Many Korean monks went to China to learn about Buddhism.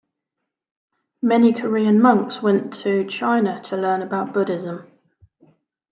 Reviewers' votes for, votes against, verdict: 2, 0, accepted